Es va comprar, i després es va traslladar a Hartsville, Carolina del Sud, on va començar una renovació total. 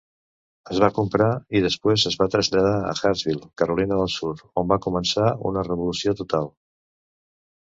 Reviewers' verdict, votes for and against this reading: rejected, 1, 2